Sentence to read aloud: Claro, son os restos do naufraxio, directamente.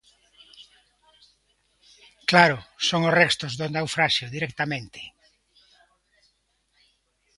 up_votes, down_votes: 2, 0